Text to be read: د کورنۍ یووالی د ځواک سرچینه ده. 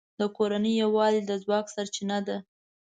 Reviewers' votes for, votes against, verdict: 2, 0, accepted